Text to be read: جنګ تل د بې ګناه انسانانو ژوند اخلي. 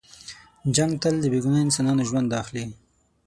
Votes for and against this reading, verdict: 0, 6, rejected